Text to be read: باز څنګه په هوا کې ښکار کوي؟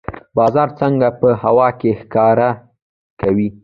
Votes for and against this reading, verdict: 1, 2, rejected